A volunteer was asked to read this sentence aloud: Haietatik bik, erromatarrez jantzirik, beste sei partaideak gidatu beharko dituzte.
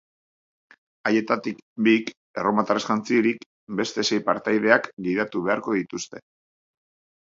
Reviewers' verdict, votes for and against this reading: accepted, 2, 0